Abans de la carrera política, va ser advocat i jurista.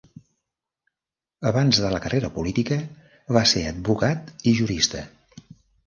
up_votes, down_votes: 3, 1